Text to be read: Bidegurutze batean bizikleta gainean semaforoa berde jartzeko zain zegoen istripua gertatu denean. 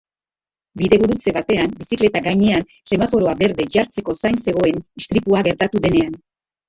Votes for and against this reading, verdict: 2, 4, rejected